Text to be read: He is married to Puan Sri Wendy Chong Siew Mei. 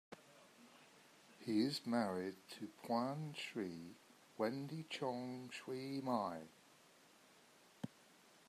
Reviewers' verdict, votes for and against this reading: rejected, 1, 2